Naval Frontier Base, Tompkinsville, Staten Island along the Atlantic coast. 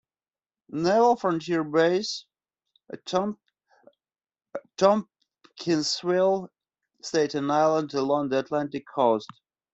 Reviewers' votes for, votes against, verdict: 0, 2, rejected